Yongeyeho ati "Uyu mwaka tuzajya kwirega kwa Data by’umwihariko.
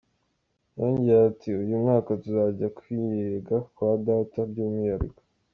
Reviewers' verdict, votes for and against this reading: accepted, 2, 1